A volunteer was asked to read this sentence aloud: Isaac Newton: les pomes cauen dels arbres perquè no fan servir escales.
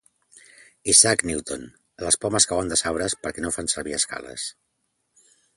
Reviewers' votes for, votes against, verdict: 2, 0, accepted